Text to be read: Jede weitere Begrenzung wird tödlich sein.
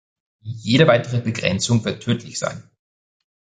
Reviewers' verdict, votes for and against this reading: accepted, 2, 0